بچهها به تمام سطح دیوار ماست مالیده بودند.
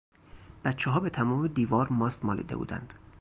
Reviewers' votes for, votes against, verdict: 0, 2, rejected